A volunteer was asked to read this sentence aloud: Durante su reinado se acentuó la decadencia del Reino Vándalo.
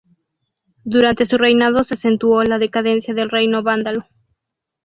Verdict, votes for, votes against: accepted, 4, 0